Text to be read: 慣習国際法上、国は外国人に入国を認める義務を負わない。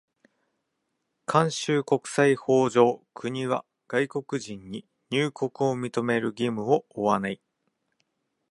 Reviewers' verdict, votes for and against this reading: accepted, 2, 1